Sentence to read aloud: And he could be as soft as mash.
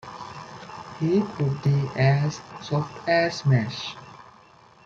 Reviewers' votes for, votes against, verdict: 1, 2, rejected